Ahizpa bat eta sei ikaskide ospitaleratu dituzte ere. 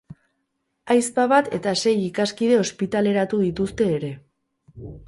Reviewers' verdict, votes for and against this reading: accepted, 4, 0